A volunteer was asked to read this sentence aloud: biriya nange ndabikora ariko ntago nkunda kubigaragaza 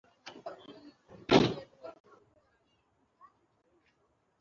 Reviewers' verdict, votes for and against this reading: rejected, 1, 2